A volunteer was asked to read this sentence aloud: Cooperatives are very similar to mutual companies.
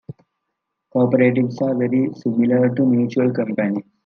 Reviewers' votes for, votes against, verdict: 1, 2, rejected